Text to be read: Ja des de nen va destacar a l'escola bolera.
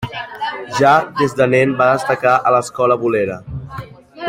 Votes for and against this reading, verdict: 2, 1, accepted